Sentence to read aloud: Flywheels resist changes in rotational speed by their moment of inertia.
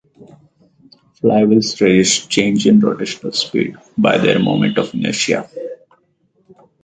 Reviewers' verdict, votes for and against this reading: rejected, 0, 4